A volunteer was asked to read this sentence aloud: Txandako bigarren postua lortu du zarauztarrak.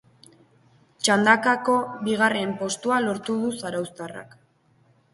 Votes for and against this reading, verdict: 1, 2, rejected